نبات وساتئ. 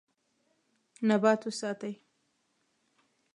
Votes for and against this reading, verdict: 2, 0, accepted